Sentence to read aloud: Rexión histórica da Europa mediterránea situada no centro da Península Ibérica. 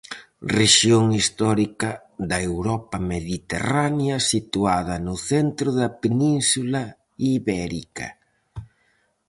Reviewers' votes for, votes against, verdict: 4, 0, accepted